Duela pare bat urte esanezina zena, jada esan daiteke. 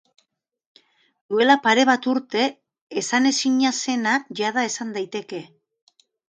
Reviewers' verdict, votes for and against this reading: accepted, 2, 0